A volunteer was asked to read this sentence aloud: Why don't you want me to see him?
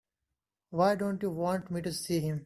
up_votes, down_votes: 2, 0